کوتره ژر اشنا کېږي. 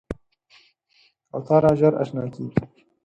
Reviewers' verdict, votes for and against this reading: accepted, 4, 0